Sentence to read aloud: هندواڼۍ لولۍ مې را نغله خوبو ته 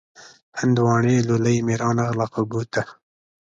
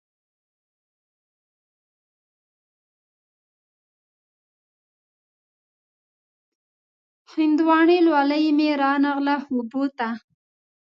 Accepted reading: first